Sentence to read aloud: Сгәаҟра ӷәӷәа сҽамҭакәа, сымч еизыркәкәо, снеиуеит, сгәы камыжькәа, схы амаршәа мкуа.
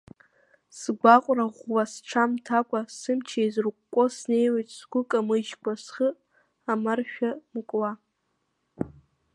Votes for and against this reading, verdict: 0, 2, rejected